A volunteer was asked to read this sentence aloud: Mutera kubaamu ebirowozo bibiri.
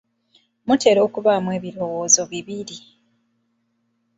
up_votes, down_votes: 0, 2